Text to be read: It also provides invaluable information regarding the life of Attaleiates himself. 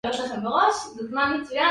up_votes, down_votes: 0, 2